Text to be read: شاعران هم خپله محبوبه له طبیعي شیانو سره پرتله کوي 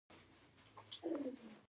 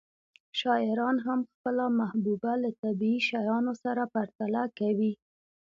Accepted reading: second